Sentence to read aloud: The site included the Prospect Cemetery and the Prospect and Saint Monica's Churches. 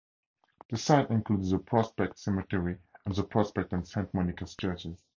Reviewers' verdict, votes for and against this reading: accepted, 2, 0